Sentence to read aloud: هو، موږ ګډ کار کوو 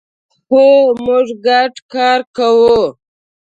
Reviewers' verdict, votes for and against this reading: rejected, 0, 2